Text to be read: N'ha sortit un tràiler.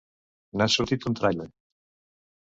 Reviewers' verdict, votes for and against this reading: accepted, 2, 0